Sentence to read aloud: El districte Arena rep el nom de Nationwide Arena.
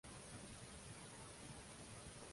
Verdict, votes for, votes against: rejected, 0, 2